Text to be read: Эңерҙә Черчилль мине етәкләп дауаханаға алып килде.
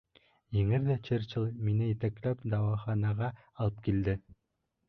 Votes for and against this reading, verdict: 0, 2, rejected